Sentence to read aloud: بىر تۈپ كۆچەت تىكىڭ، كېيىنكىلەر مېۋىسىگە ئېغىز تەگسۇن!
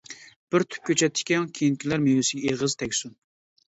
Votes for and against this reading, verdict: 2, 1, accepted